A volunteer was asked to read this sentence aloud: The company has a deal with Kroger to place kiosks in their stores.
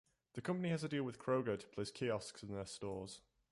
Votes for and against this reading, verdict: 3, 0, accepted